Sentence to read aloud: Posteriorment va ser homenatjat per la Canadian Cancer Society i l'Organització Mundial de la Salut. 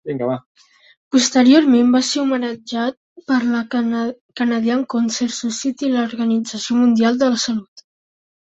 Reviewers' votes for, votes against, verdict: 1, 2, rejected